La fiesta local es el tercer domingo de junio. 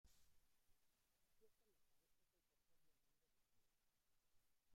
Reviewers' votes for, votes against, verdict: 0, 2, rejected